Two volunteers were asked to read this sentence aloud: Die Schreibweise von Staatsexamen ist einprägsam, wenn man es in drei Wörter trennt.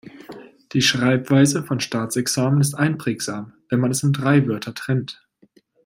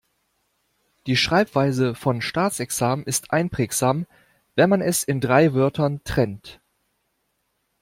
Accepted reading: first